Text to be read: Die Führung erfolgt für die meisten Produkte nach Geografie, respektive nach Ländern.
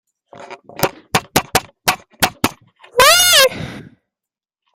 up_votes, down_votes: 0, 2